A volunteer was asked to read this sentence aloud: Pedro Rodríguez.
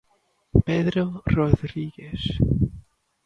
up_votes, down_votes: 2, 1